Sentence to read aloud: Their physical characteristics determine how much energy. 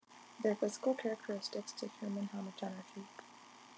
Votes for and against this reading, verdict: 1, 2, rejected